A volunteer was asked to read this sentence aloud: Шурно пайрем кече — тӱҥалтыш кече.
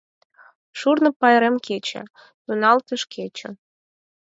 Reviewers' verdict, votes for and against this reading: accepted, 4, 0